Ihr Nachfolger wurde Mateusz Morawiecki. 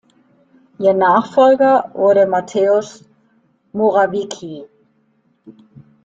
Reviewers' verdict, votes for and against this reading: rejected, 1, 2